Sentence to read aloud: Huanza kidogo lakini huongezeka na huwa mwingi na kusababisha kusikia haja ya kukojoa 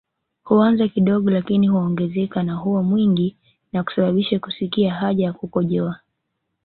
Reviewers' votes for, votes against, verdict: 2, 0, accepted